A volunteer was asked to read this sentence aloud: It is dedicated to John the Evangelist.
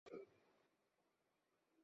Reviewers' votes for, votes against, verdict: 0, 2, rejected